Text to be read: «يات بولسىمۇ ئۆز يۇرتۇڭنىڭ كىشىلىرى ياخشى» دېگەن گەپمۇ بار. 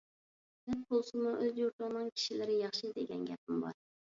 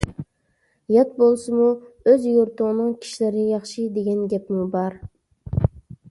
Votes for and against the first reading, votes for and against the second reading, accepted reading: 1, 2, 2, 0, second